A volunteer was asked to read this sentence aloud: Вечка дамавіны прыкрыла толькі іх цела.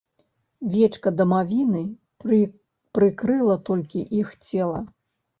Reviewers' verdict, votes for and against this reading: rejected, 1, 2